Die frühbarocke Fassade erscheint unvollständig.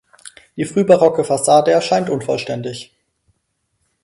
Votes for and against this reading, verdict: 4, 0, accepted